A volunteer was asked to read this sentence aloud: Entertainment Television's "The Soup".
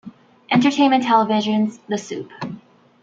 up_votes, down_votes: 2, 1